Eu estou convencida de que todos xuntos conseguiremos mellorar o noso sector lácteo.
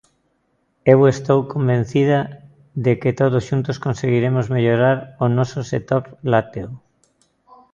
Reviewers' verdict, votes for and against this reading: accepted, 2, 0